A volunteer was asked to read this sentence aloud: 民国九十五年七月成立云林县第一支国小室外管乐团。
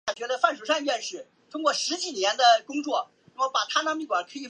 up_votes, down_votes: 0, 4